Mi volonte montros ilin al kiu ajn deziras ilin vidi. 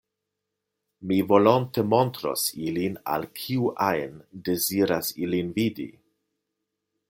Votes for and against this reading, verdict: 2, 0, accepted